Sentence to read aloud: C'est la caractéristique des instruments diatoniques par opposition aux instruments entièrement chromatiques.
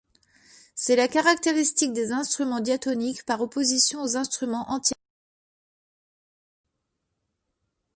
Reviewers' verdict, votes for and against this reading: rejected, 0, 2